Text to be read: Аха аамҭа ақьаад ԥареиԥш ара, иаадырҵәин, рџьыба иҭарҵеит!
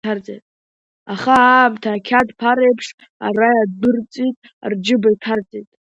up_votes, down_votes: 0, 2